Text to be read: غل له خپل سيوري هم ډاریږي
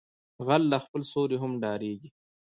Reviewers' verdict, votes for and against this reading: rejected, 0, 2